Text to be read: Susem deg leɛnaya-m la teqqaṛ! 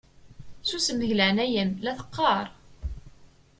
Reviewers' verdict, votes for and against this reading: accepted, 2, 0